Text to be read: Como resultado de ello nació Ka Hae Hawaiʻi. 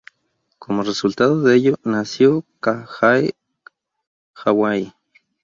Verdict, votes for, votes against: rejected, 0, 2